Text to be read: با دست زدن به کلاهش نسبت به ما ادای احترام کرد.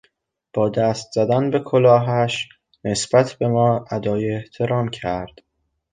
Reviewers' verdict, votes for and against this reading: accepted, 2, 0